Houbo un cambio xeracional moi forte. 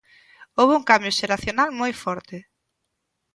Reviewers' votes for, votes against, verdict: 2, 0, accepted